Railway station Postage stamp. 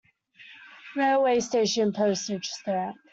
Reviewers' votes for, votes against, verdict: 2, 0, accepted